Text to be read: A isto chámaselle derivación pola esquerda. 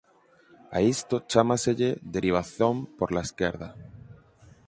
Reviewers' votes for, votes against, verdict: 0, 8, rejected